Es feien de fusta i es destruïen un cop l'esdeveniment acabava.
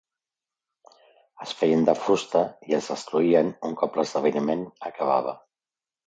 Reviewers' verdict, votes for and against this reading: accepted, 2, 0